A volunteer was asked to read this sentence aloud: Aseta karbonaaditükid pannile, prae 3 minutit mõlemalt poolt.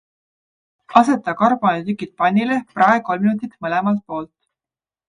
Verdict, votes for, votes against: rejected, 0, 2